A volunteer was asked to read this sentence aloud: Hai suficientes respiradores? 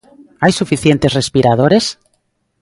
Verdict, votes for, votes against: rejected, 1, 2